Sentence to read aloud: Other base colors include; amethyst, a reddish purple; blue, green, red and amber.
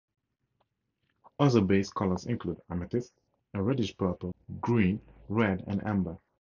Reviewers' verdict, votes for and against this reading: accepted, 2, 0